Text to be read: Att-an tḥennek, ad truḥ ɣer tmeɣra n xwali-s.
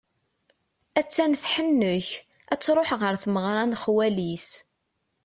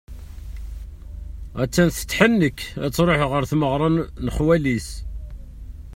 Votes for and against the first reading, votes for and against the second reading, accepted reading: 2, 0, 1, 2, first